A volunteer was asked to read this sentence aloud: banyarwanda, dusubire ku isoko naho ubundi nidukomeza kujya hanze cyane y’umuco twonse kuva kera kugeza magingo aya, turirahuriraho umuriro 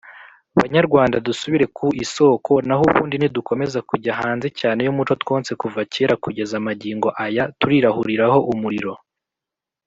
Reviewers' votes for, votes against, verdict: 2, 0, accepted